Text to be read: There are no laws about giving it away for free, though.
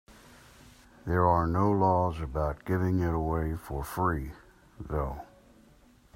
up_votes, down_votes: 2, 0